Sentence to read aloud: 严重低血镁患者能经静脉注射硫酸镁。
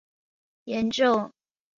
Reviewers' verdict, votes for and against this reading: rejected, 1, 9